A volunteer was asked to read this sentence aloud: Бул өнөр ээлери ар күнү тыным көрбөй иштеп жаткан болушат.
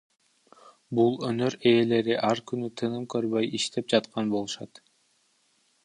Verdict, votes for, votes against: rejected, 0, 2